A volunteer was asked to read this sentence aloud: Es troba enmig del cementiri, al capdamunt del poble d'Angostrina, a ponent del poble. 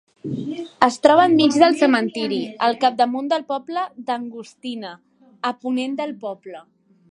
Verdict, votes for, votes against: rejected, 0, 2